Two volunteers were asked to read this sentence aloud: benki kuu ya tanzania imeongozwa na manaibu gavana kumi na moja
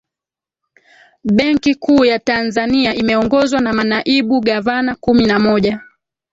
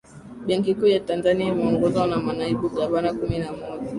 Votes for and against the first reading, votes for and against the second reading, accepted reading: 1, 2, 4, 0, second